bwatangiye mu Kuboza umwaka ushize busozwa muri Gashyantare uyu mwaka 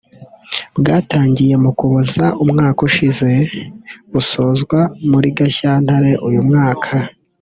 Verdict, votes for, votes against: accepted, 3, 0